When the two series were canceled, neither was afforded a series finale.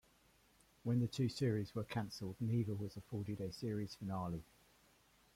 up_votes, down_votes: 2, 0